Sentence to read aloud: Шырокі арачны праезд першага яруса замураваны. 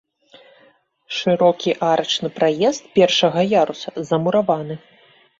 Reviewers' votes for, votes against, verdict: 2, 0, accepted